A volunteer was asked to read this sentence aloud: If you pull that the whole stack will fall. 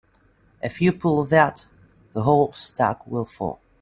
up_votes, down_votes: 2, 0